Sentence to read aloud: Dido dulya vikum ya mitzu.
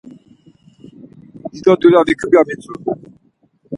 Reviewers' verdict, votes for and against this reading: accepted, 4, 0